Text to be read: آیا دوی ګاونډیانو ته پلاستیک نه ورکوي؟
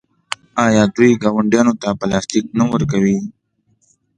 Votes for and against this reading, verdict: 2, 0, accepted